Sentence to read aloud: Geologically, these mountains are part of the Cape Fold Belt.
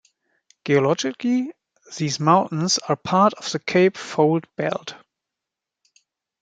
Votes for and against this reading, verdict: 0, 2, rejected